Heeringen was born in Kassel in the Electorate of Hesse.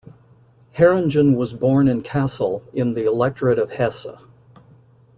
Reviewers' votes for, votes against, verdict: 2, 0, accepted